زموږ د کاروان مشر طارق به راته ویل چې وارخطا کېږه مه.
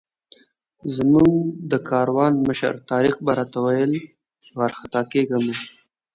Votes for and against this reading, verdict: 2, 0, accepted